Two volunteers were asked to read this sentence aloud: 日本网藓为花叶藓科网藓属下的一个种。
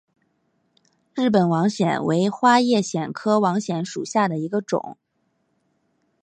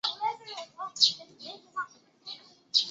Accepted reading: first